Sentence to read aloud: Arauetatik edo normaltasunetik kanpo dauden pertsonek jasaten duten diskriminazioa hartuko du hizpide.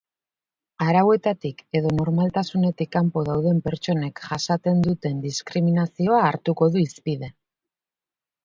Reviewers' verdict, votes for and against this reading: accepted, 4, 0